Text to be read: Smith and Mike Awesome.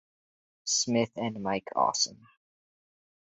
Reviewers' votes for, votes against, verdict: 4, 0, accepted